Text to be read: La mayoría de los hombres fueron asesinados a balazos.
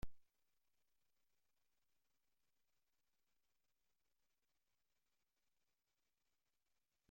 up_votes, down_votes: 0, 2